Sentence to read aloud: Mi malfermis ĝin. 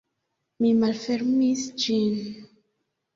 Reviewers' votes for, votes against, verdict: 2, 0, accepted